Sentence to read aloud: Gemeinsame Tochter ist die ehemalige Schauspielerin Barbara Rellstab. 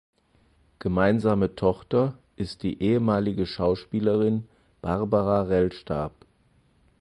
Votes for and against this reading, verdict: 4, 0, accepted